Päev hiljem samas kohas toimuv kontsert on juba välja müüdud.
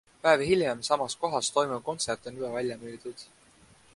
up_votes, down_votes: 2, 0